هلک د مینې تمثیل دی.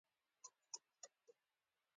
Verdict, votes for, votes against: accepted, 2, 0